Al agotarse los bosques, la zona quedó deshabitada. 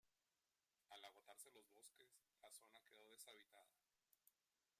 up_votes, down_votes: 1, 2